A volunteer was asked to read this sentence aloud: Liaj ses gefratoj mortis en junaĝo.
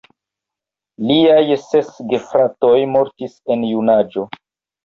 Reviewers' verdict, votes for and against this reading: accepted, 2, 0